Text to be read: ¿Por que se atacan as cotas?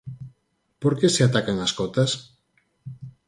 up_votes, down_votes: 4, 0